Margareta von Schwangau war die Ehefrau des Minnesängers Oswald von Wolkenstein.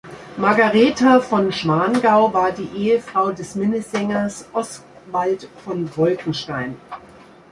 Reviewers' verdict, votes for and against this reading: rejected, 1, 2